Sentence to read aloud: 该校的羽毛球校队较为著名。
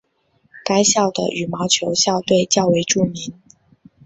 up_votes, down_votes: 4, 1